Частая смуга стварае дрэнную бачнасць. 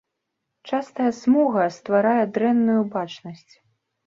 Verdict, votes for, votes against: rejected, 0, 2